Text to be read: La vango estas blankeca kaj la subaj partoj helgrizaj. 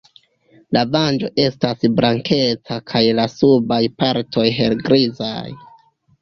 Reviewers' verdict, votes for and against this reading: rejected, 1, 2